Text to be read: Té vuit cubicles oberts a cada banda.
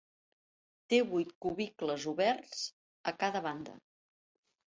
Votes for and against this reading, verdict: 3, 0, accepted